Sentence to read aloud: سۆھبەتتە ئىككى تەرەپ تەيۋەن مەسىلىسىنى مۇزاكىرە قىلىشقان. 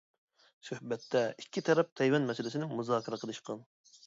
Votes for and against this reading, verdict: 2, 1, accepted